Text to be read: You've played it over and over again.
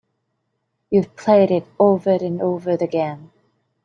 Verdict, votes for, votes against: accepted, 3, 1